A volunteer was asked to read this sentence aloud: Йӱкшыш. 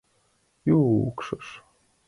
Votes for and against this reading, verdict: 2, 0, accepted